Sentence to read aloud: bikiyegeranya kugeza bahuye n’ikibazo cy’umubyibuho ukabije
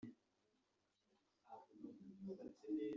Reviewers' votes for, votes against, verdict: 0, 2, rejected